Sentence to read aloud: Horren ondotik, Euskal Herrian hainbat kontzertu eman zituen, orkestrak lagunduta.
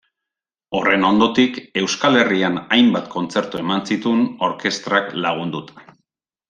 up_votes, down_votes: 1, 2